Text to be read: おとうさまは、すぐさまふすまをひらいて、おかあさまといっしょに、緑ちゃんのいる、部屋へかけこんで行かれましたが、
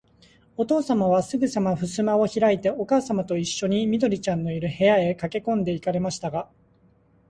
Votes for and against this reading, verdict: 2, 0, accepted